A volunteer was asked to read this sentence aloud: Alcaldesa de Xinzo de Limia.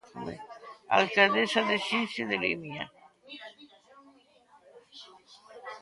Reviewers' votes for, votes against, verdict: 1, 2, rejected